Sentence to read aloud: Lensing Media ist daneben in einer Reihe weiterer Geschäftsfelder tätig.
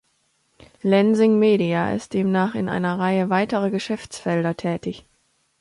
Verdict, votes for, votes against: rejected, 0, 2